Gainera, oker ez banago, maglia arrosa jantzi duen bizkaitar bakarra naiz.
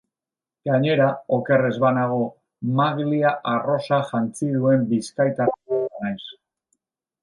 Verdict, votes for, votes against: rejected, 0, 3